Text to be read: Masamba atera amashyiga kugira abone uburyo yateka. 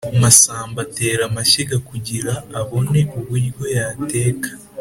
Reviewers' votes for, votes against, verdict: 3, 0, accepted